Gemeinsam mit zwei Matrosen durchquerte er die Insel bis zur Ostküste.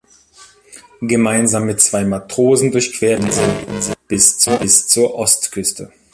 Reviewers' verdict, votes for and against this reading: rejected, 0, 2